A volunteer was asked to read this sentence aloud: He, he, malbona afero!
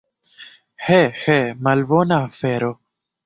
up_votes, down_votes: 1, 2